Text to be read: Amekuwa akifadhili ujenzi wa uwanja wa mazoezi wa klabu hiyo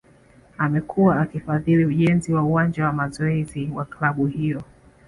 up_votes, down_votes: 2, 1